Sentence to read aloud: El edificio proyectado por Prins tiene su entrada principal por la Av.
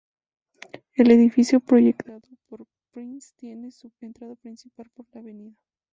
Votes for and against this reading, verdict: 0, 2, rejected